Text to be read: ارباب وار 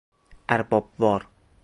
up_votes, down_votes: 0, 2